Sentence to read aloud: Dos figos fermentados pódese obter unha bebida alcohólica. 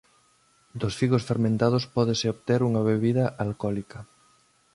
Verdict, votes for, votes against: accepted, 2, 0